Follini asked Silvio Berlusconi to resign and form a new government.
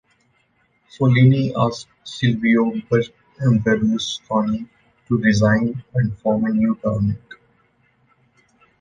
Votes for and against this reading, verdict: 1, 2, rejected